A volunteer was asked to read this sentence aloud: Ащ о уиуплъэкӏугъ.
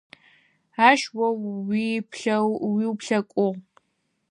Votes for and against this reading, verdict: 2, 4, rejected